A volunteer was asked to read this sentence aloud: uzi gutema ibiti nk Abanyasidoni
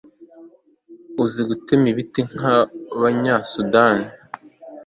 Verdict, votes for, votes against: rejected, 1, 2